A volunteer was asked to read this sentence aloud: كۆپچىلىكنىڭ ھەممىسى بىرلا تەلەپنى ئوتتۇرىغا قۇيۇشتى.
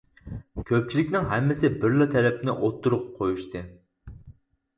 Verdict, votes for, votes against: accepted, 4, 0